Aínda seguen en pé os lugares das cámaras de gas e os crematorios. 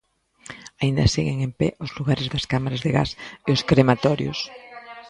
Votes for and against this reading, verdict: 0, 2, rejected